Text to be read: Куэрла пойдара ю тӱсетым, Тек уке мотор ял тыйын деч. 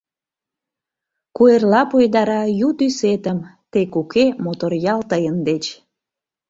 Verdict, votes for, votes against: accepted, 2, 0